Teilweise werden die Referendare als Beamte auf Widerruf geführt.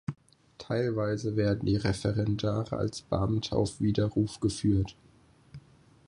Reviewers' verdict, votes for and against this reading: accepted, 6, 0